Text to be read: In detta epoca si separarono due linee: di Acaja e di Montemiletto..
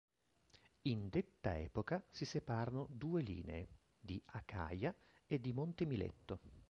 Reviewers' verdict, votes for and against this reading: rejected, 0, 2